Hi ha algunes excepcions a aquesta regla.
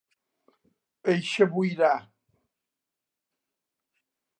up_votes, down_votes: 0, 2